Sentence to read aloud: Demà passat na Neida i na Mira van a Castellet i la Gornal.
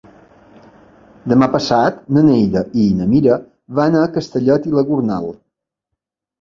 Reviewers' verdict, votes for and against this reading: accepted, 2, 0